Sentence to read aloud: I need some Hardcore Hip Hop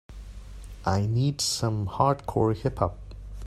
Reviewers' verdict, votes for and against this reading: accepted, 2, 0